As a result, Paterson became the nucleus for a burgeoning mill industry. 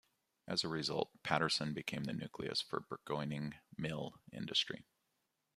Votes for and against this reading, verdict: 1, 2, rejected